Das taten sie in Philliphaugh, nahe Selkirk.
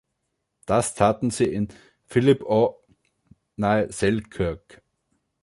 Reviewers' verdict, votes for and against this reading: rejected, 2, 3